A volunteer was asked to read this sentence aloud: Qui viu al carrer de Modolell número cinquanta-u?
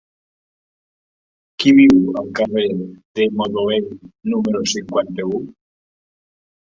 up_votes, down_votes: 1, 2